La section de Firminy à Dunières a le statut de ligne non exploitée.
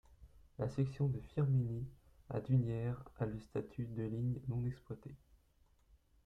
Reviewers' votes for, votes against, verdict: 2, 0, accepted